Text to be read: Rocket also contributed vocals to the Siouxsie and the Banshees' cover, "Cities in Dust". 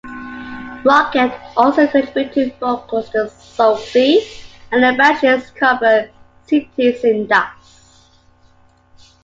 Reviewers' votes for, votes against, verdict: 1, 2, rejected